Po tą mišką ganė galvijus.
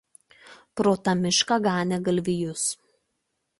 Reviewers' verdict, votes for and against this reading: rejected, 0, 2